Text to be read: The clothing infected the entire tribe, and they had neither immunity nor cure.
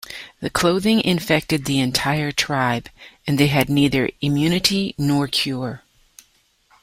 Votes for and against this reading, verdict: 2, 0, accepted